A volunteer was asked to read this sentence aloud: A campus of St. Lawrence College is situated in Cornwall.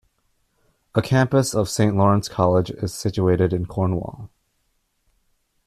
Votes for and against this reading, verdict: 2, 0, accepted